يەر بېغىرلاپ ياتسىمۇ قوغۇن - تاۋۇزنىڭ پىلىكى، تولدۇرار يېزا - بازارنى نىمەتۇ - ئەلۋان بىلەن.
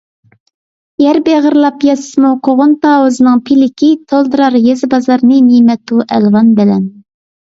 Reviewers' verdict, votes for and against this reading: accepted, 2, 0